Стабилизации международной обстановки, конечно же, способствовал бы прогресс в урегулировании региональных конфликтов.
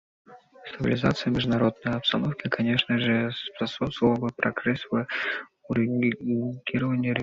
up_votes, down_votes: 2, 0